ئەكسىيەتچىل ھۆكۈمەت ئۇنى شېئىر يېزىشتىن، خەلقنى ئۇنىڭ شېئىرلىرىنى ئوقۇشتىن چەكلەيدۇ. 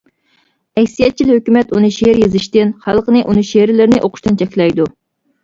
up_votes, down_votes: 0, 2